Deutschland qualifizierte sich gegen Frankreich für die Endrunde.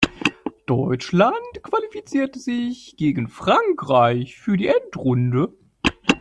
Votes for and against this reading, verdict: 0, 2, rejected